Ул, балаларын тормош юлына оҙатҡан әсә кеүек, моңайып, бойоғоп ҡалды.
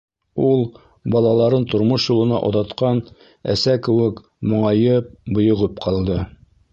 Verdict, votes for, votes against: rejected, 1, 2